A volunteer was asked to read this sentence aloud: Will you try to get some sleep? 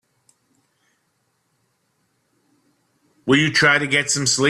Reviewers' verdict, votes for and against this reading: rejected, 1, 2